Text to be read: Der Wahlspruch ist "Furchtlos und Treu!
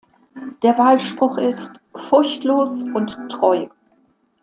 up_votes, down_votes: 2, 0